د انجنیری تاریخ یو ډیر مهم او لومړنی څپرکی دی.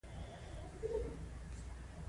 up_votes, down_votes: 2, 0